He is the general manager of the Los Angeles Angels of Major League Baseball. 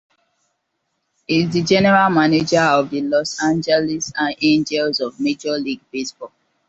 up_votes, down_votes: 2, 0